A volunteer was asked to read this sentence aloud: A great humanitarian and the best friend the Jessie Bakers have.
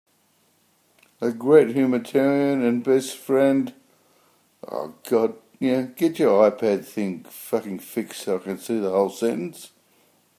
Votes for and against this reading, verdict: 1, 3, rejected